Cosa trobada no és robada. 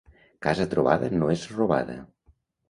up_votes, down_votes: 1, 2